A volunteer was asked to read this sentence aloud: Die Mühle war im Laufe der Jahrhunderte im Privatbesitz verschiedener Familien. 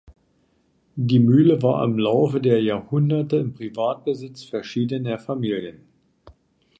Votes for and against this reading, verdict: 1, 2, rejected